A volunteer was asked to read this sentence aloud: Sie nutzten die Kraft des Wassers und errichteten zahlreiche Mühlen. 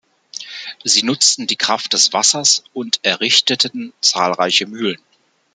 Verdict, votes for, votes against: accepted, 2, 0